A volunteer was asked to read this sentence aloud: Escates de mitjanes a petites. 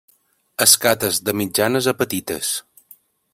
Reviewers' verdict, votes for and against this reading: accepted, 3, 0